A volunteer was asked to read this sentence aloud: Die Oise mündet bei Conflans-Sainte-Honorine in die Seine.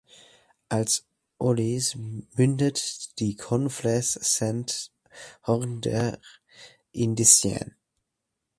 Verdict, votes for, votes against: rejected, 0, 2